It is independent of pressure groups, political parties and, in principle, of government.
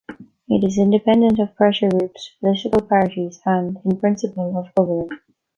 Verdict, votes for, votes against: rejected, 1, 2